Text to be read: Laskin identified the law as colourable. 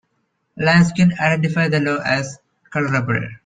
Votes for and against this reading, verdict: 2, 0, accepted